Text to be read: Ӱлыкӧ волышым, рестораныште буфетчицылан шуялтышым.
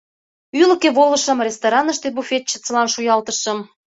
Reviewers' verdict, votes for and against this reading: accepted, 2, 0